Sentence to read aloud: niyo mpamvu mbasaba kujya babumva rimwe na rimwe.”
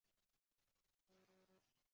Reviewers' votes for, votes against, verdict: 0, 2, rejected